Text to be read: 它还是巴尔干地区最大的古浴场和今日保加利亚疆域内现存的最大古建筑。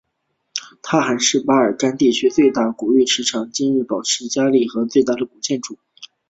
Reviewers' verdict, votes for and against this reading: rejected, 2, 2